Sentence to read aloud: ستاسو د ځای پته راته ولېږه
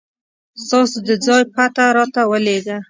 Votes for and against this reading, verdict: 2, 0, accepted